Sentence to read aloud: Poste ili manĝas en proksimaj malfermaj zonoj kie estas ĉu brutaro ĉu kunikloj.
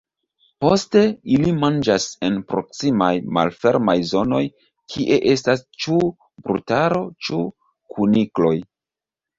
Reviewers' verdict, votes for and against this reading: accepted, 3, 1